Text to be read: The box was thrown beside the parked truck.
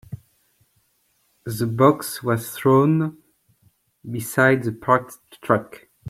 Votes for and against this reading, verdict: 1, 3, rejected